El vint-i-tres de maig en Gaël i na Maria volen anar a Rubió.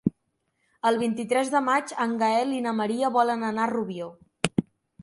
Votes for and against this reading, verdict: 3, 0, accepted